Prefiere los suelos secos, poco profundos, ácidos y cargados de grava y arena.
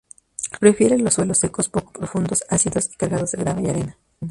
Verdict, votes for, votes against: rejected, 2, 2